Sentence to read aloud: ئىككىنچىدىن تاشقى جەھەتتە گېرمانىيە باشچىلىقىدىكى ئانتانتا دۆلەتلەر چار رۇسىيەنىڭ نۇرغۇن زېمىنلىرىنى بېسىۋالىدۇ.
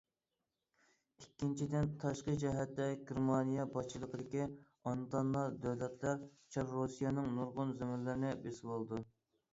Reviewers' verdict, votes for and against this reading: rejected, 1, 2